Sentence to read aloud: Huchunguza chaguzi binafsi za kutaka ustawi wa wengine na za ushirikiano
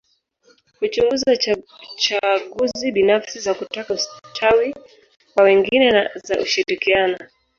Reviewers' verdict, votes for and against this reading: rejected, 0, 4